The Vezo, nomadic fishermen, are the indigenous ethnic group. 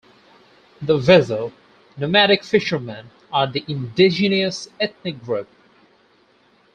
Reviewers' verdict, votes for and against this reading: rejected, 0, 4